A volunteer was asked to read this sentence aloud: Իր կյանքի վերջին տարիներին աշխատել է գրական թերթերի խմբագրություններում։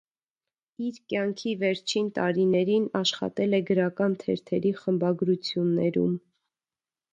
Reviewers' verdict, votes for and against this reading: accepted, 2, 0